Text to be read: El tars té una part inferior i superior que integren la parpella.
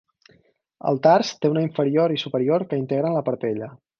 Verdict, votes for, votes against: rejected, 0, 4